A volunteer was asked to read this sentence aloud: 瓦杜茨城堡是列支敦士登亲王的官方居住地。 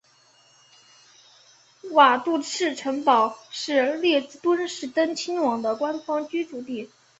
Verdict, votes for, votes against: accepted, 6, 0